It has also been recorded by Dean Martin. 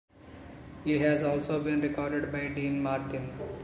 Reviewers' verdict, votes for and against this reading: accepted, 2, 0